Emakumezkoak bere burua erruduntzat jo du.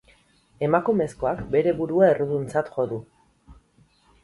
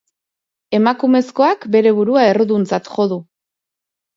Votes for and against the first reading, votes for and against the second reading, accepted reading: 2, 2, 2, 0, second